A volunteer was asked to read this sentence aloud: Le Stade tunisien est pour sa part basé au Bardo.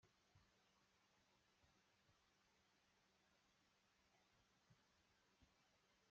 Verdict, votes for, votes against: rejected, 0, 2